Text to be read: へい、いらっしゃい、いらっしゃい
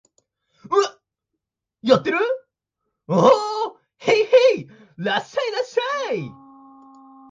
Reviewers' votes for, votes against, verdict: 0, 2, rejected